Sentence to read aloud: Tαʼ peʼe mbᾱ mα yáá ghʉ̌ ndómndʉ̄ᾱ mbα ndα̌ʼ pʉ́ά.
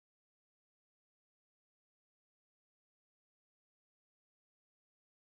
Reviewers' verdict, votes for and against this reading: rejected, 1, 2